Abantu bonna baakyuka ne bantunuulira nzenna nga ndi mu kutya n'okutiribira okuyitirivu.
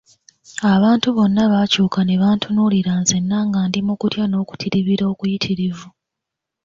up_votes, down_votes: 2, 0